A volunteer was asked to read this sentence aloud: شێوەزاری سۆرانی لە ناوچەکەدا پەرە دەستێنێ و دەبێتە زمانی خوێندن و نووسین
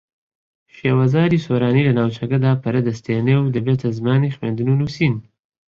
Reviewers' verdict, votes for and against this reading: accepted, 7, 0